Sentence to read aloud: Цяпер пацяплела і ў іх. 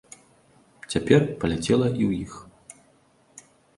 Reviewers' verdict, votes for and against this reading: rejected, 0, 2